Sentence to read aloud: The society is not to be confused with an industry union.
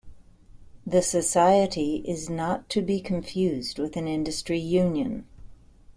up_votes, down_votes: 2, 0